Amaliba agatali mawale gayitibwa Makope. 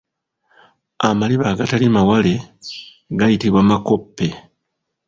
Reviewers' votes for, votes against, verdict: 2, 1, accepted